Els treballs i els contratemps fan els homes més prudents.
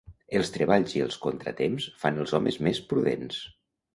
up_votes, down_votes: 3, 1